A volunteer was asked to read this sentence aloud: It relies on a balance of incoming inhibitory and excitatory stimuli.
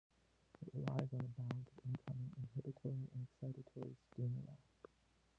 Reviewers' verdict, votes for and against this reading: rejected, 0, 2